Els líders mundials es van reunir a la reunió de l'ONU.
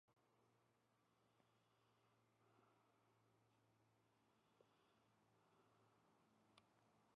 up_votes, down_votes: 0, 6